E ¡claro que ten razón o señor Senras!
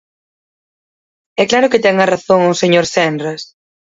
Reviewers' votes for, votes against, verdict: 2, 4, rejected